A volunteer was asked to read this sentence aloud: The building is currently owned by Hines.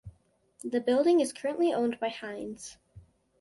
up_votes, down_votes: 2, 0